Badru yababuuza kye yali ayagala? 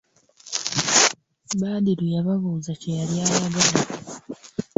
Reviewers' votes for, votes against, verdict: 1, 2, rejected